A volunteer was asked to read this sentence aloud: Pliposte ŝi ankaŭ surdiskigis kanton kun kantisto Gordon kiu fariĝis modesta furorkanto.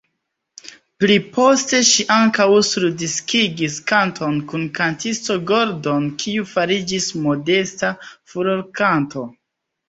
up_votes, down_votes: 2, 0